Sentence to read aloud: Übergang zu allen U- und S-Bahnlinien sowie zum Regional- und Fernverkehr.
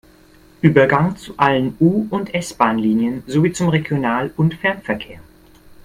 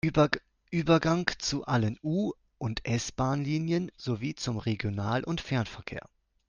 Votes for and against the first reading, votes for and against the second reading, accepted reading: 2, 0, 0, 2, first